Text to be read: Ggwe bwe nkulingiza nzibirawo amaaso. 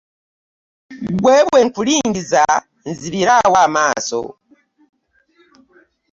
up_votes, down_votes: 0, 2